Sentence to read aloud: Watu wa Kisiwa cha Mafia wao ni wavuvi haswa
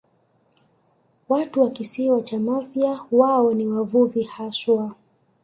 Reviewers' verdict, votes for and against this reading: accepted, 2, 0